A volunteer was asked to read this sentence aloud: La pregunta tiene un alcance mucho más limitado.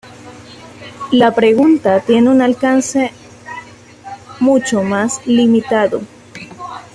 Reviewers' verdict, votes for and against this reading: accepted, 2, 0